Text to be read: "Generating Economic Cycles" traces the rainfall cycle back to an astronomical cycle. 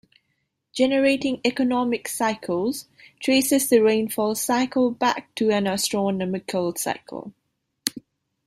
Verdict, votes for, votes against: rejected, 1, 2